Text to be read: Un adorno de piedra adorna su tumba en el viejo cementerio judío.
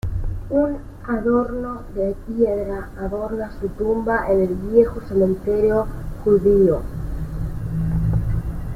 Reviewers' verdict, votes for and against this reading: rejected, 0, 2